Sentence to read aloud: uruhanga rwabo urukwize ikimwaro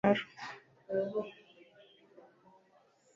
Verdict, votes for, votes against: rejected, 1, 2